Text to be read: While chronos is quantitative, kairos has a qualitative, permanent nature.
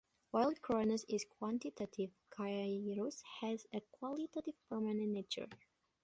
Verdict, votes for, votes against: rejected, 1, 2